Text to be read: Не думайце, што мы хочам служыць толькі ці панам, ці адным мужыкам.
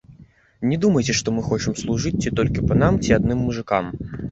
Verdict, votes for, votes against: rejected, 0, 2